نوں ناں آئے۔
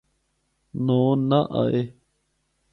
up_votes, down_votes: 4, 0